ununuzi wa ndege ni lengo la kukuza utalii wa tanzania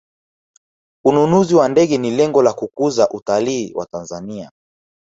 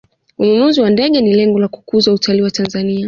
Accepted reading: first